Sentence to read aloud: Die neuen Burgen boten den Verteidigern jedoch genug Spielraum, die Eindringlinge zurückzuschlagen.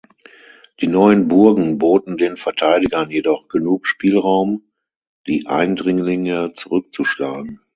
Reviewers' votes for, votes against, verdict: 9, 0, accepted